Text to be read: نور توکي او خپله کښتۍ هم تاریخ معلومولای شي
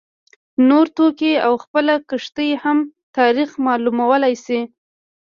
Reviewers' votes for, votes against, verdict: 2, 1, accepted